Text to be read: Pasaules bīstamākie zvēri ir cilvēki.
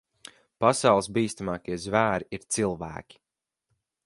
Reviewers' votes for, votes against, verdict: 4, 0, accepted